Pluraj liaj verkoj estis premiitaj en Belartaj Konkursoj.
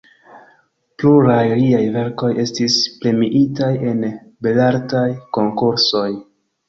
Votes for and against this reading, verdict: 2, 1, accepted